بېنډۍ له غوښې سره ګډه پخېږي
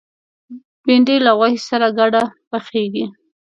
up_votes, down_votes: 3, 0